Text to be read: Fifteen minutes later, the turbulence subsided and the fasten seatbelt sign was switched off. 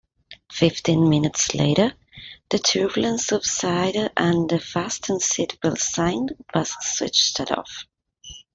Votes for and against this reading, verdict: 0, 2, rejected